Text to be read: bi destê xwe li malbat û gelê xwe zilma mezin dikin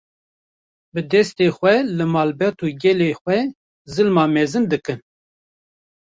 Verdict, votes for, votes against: accepted, 2, 0